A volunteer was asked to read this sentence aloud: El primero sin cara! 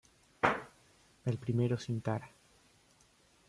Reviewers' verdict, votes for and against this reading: accepted, 2, 0